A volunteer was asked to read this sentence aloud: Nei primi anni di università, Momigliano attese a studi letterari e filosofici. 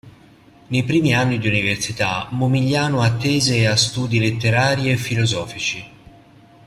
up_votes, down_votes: 2, 0